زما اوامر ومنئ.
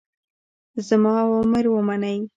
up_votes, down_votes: 3, 0